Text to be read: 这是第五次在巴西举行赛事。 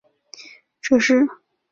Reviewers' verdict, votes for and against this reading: rejected, 0, 2